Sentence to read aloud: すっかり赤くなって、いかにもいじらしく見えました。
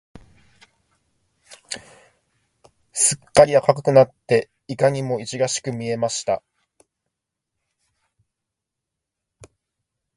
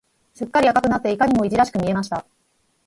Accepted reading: second